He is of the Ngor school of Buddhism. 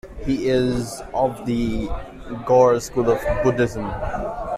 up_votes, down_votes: 3, 2